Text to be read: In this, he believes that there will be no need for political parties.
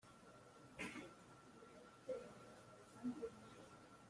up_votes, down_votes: 0, 2